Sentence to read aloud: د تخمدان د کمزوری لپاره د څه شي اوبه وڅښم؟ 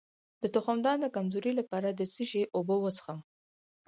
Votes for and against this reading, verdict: 4, 0, accepted